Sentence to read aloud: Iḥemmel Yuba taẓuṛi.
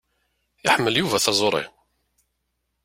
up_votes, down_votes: 2, 0